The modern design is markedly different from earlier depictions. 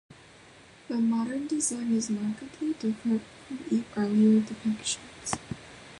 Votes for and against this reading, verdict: 1, 2, rejected